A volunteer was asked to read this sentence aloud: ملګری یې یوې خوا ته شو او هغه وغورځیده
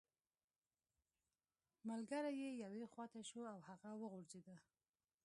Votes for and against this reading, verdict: 1, 2, rejected